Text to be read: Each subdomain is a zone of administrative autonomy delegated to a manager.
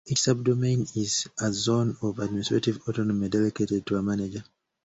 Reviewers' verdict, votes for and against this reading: accepted, 2, 0